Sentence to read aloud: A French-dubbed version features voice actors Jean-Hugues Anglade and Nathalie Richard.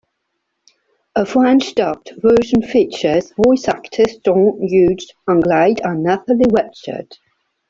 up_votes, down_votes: 3, 1